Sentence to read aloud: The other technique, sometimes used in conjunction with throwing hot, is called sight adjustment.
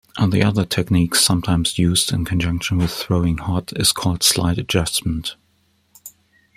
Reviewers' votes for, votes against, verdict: 0, 2, rejected